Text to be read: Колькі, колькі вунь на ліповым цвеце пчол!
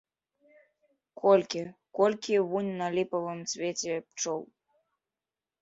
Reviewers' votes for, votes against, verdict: 2, 1, accepted